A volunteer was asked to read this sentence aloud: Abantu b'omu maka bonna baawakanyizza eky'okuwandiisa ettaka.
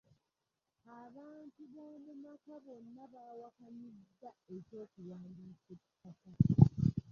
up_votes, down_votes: 0, 3